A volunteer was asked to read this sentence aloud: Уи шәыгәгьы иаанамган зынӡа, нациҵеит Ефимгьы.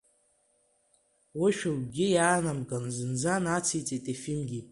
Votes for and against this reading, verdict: 0, 2, rejected